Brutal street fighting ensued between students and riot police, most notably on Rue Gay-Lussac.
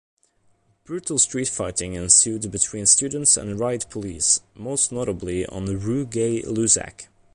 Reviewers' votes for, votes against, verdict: 2, 0, accepted